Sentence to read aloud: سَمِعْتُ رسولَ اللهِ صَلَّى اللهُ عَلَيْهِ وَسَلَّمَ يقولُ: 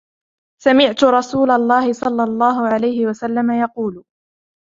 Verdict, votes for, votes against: accepted, 2, 1